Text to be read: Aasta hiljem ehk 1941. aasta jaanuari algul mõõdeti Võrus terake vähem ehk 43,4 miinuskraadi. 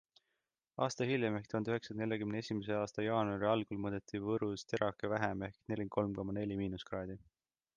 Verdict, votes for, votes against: rejected, 0, 2